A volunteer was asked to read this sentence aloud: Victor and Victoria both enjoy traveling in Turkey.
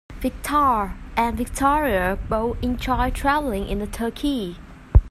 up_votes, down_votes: 0, 2